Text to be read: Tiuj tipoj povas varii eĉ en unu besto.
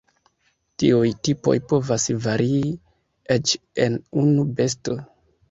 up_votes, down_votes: 2, 0